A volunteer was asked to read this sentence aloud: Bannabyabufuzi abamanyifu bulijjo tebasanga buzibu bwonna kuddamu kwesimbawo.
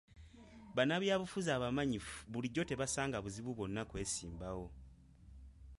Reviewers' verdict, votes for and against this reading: rejected, 0, 2